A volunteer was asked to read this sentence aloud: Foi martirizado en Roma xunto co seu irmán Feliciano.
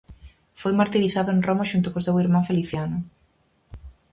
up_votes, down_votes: 4, 0